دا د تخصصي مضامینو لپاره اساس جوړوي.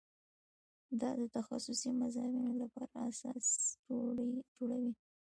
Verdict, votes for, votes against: accepted, 2, 0